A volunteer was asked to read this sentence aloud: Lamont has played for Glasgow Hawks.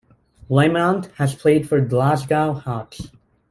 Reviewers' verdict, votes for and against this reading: accepted, 2, 0